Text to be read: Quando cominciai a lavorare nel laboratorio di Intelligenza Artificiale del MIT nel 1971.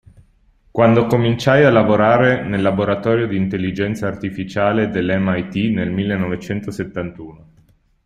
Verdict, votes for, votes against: rejected, 0, 2